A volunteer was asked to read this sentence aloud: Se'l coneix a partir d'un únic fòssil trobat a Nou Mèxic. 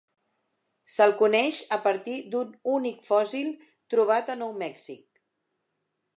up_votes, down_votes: 3, 0